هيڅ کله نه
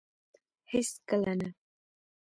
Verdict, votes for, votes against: rejected, 0, 2